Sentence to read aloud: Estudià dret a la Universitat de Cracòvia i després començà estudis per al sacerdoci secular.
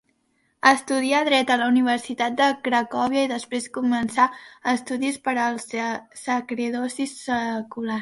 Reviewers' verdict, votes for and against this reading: rejected, 1, 2